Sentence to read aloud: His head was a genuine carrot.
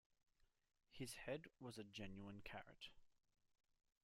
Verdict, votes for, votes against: rejected, 1, 2